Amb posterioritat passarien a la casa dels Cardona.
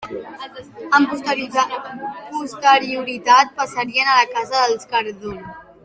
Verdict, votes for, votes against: rejected, 0, 2